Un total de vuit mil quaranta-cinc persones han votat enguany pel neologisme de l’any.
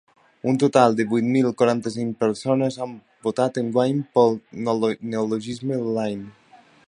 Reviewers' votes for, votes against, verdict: 0, 2, rejected